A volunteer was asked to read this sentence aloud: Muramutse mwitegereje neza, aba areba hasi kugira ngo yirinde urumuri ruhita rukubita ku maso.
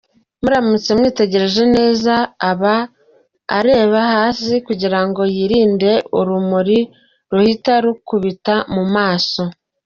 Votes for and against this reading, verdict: 2, 0, accepted